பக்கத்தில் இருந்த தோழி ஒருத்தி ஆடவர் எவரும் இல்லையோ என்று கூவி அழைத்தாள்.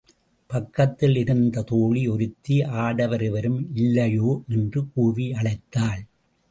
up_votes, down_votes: 0, 2